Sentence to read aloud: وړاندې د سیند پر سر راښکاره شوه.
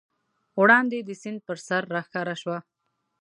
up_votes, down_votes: 2, 0